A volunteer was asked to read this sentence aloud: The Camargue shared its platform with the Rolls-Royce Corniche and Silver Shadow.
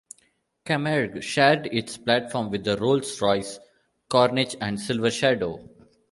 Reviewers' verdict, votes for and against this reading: rejected, 1, 2